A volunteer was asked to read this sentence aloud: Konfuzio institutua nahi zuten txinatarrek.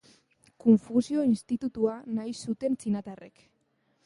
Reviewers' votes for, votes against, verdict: 0, 2, rejected